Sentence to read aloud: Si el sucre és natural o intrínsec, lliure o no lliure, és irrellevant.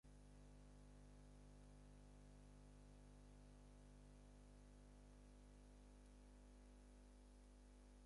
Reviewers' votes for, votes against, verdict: 2, 4, rejected